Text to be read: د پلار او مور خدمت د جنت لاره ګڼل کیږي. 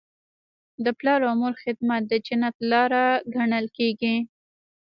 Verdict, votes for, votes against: accepted, 2, 0